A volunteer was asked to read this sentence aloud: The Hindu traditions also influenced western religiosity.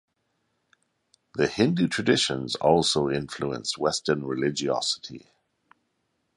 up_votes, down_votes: 2, 0